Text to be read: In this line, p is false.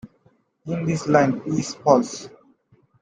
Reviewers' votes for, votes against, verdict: 0, 2, rejected